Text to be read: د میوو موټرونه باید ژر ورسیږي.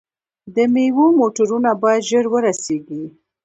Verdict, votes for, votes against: rejected, 0, 2